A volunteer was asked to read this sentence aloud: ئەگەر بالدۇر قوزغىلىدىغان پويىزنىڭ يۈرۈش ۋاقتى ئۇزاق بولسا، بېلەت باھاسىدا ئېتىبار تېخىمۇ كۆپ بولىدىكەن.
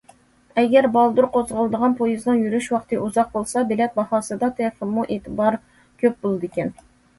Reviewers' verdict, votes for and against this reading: rejected, 0, 2